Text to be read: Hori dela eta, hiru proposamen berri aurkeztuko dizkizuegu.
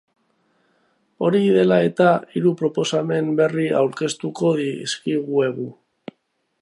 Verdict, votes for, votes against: rejected, 1, 2